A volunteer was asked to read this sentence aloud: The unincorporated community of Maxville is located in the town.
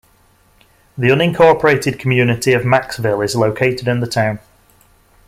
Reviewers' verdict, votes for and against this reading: accepted, 2, 0